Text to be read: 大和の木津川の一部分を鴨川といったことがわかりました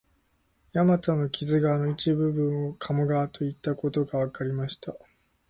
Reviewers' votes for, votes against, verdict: 2, 0, accepted